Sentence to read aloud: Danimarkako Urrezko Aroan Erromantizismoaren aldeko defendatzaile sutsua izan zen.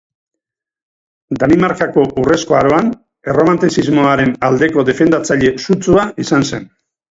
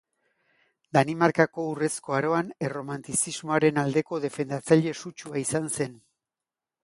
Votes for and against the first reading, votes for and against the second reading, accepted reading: 2, 2, 2, 0, second